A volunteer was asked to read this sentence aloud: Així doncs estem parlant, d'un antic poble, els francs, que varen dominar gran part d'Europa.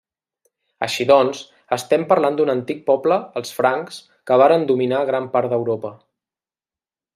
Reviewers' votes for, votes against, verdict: 3, 0, accepted